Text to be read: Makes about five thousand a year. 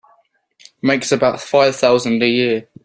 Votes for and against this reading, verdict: 4, 0, accepted